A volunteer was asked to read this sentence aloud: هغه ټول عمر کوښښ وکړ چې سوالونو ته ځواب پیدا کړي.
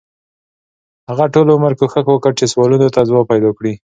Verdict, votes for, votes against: accepted, 3, 0